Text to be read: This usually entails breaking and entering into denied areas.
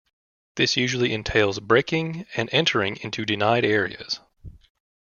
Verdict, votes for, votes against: accepted, 2, 0